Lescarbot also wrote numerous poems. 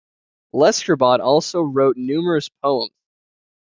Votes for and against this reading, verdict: 0, 2, rejected